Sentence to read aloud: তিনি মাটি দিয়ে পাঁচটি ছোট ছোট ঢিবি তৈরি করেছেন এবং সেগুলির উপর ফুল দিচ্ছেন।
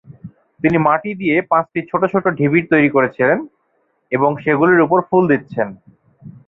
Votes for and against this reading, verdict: 0, 2, rejected